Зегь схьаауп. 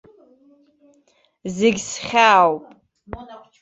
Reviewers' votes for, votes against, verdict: 2, 1, accepted